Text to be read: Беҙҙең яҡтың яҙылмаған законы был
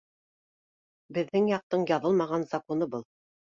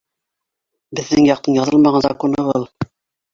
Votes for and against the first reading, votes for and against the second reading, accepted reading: 2, 0, 1, 2, first